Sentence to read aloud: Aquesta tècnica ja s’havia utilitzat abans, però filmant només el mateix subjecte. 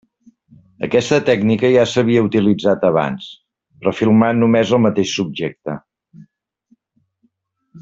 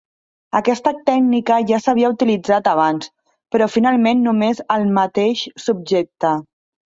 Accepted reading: first